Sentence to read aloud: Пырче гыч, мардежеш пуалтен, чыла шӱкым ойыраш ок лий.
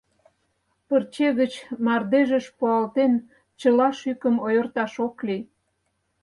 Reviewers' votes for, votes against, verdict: 0, 4, rejected